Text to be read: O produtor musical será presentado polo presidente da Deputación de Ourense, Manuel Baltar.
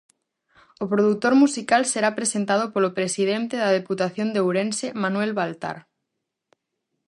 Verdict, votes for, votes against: accepted, 4, 0